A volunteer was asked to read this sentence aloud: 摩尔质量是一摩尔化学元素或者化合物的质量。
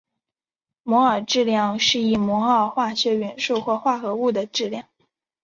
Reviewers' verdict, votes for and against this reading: accepted, 2, 0